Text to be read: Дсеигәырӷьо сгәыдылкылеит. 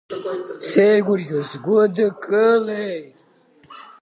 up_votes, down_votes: 1, 2